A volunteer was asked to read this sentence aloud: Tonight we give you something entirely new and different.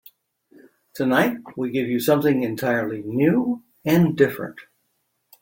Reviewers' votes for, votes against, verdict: 3, 0, accepted